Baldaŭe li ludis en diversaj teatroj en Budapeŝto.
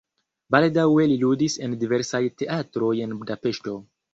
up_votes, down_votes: 1, 2